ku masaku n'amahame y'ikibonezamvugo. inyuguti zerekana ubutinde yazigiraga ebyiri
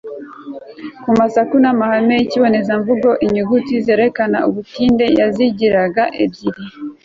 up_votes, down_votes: 2, 0